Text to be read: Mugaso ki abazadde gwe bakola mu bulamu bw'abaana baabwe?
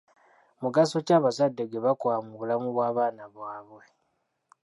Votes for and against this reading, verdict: 2, 0, accepted